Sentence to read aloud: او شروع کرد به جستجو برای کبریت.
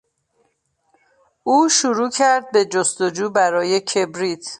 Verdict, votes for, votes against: accepted, 2, 0